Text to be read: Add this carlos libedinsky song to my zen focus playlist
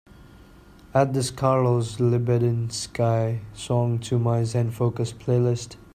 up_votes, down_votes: 2, 1